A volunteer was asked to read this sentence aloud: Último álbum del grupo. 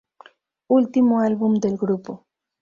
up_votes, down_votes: 2, 0